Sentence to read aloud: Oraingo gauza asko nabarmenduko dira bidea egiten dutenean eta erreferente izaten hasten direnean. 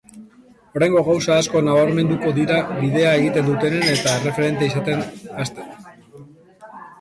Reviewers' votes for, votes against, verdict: 0, 3, rejected